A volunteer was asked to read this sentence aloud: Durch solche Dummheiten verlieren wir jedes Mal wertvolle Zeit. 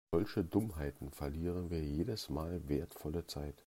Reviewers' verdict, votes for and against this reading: rejected, 0, 2